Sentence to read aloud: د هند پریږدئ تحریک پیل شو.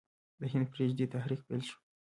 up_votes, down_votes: 1, 2